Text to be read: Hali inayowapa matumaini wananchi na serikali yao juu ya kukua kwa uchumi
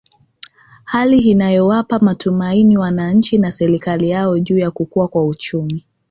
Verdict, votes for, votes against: accepted, 2, 1